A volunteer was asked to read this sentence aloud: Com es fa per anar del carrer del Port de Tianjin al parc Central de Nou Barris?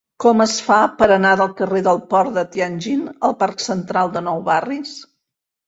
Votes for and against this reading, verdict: 4, 0, accepted